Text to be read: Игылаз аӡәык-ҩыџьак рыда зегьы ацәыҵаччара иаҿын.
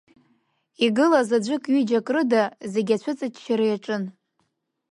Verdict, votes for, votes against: accepted, 3, 0